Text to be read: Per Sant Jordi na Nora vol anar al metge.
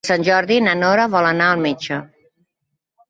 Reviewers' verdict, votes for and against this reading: rejected, 1, 2